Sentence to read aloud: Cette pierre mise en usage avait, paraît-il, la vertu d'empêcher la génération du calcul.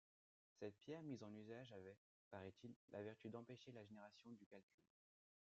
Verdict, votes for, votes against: accepted, 2, 1